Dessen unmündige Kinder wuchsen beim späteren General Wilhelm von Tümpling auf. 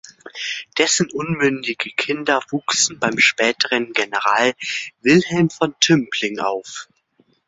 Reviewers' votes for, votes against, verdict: 2, 0, accepted